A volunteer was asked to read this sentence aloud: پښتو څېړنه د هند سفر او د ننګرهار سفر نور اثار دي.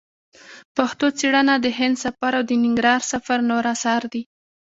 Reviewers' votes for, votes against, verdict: 3, 2, accepted